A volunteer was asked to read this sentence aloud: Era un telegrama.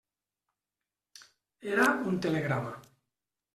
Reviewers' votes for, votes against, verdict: 1, 2, rejected